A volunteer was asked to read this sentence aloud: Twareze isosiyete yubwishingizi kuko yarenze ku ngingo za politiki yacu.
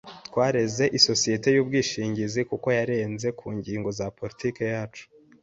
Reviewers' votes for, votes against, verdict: 2, 0, accepted